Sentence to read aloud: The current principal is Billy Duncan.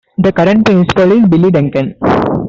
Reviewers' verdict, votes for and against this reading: accepted, 2, 0